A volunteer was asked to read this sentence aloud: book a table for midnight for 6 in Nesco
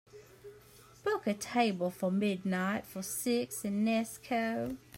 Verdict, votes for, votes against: rejected, 0, 2